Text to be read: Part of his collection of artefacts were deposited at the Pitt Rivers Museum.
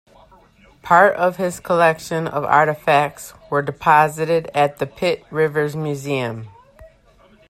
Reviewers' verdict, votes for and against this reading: accepted, 2, 1